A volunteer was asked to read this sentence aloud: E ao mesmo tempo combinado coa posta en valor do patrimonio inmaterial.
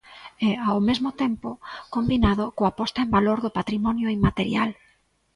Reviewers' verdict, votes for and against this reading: accepted, 2, 0